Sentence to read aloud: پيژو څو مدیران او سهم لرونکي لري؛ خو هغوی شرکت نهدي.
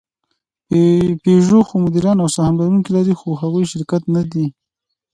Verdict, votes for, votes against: accepted, 2, 0